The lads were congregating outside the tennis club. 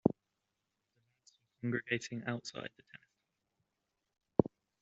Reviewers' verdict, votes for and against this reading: rejected, 0, 2